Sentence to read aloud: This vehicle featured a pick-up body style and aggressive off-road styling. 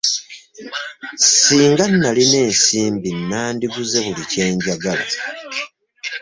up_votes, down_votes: 1, 2